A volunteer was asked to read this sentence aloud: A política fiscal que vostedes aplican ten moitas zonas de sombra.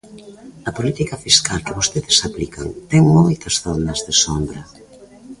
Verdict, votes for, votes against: accepted, 2, 0